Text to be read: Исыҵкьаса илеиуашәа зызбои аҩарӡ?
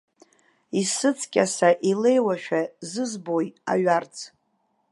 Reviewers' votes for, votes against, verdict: 2, 0, accepted